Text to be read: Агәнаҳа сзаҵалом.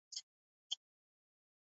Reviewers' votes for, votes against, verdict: 0, 2, rejected